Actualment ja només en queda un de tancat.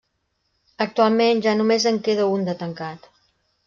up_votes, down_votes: 2, 0